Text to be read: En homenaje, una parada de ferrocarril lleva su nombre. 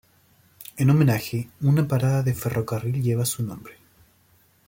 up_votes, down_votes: 2, 0